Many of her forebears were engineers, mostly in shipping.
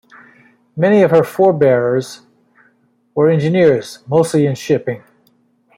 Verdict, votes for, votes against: accepted, 2, 0